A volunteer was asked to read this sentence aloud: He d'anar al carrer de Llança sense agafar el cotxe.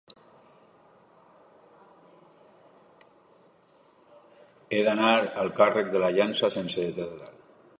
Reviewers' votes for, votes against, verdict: 0, 2, rejected